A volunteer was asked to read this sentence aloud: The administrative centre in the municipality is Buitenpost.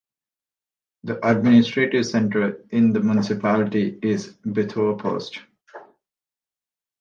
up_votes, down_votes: 0, 2